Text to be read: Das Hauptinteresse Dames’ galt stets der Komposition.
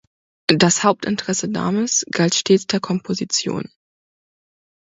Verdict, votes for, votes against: accepted, 2, 0